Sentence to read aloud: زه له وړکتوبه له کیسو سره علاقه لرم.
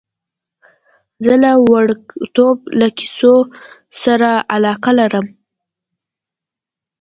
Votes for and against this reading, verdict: 2, 0, accepted